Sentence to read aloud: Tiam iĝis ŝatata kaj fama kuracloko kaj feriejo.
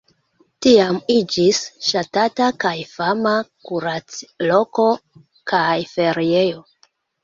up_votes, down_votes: 1, 2